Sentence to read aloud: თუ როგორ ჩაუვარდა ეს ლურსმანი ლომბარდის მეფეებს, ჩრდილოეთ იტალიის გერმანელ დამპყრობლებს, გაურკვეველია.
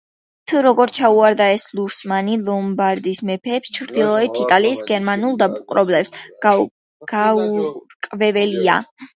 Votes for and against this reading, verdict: 0, 2, rejected